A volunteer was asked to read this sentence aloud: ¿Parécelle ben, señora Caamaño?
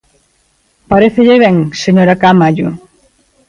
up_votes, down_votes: 1, 2